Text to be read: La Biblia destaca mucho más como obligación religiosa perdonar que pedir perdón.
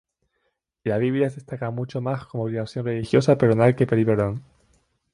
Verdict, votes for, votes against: rejected, 0, 2